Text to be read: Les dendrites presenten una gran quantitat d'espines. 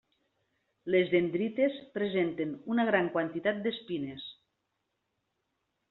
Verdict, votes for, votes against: accepted, 3, 0